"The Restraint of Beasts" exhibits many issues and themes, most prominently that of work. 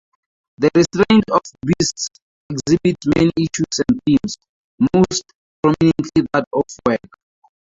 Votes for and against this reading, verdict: 0, 4, rejected